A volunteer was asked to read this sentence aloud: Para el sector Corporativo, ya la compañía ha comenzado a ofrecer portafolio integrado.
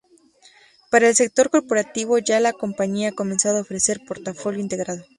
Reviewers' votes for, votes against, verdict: 2, 0, accepted